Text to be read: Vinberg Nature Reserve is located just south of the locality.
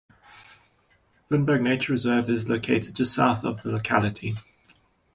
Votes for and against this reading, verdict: 2, 0, accepted